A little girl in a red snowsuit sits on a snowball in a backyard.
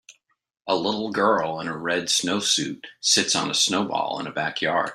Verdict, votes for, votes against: accepted, 2, 0